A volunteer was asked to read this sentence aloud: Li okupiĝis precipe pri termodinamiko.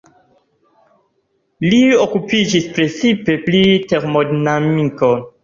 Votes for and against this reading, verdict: 0, 2, rejected